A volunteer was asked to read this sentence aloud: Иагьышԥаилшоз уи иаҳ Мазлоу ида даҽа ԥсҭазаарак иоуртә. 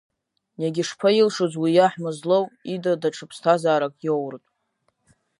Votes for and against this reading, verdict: 1, 2, rejected